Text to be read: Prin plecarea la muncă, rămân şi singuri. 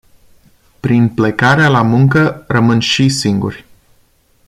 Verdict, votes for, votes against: accepted, 2, 0